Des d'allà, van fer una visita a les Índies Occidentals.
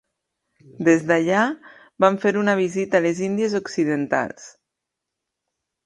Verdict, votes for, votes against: accepted, 2, 0